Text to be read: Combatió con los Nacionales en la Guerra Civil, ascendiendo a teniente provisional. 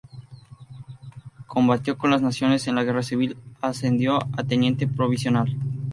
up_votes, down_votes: 0, 2